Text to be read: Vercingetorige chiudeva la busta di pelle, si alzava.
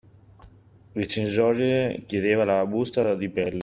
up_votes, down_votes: 0, 2